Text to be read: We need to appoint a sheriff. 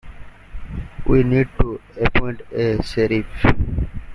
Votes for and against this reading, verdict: 1, 2, rejected